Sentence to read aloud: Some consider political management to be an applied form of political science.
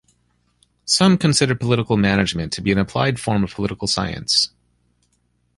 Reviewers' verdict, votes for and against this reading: accepted, 2, 0